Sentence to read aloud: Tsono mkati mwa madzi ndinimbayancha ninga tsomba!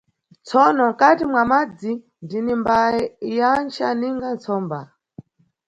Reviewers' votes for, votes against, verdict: 1, 2, rejected